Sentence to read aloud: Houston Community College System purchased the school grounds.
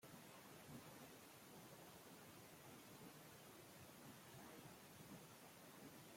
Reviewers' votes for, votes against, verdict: 0, 2, rejected